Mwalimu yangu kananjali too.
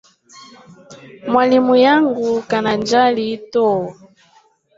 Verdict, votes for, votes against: rejected, 1, 3